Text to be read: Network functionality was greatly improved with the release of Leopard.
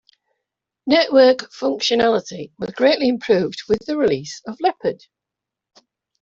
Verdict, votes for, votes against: rejected, 0, 2